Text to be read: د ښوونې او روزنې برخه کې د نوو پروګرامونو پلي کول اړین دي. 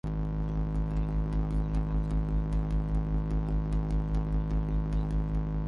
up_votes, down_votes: 0, 2